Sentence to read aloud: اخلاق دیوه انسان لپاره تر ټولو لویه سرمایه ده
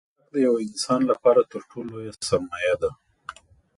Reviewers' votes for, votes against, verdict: 1, 2, rejected